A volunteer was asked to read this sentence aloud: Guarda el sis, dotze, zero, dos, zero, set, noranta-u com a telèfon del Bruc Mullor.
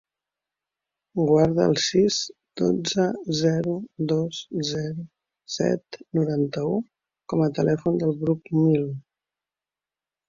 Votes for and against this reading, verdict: 1, 2, rejected